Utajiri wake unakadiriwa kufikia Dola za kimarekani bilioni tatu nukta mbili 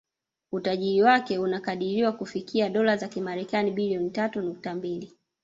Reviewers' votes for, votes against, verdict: 0, 2, rejected